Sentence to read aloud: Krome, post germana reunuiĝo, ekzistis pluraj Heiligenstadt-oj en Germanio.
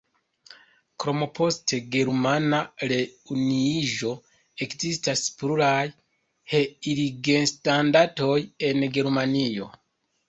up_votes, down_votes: 2, 1